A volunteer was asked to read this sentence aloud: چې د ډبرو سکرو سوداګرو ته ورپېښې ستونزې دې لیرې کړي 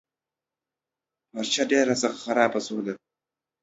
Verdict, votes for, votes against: rejected, 1, 2